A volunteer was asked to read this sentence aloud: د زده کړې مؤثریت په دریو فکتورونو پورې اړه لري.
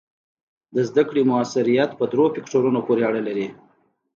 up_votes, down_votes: 2, 0